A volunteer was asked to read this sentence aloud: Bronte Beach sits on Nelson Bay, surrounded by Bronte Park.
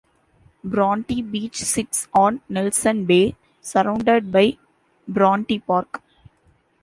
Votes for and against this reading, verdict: 2, 0, accepted